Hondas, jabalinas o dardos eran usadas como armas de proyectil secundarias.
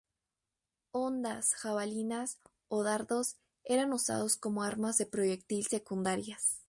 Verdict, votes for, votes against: accepted, 4, 0